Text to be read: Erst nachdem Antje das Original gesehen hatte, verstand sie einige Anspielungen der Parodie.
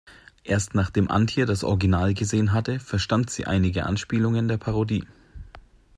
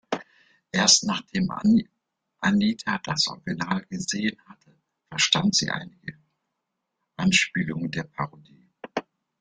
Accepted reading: first